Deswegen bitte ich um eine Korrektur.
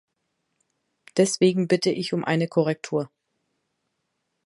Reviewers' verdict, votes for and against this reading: accepted, 2, 0